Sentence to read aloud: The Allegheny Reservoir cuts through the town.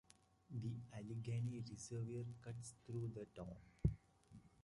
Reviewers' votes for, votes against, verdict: 0, 2, rejected